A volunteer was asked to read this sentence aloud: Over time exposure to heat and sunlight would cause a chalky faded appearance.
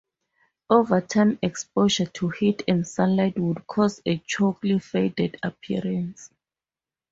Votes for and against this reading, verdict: 2, 0, accepted